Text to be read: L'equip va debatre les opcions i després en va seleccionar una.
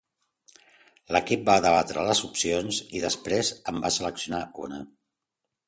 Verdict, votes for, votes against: accepted, 2, 0